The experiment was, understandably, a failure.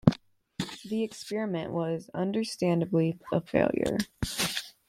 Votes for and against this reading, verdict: 2, 1, accepted